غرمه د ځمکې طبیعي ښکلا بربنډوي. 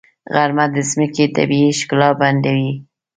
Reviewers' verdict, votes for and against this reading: accepted, 2, 0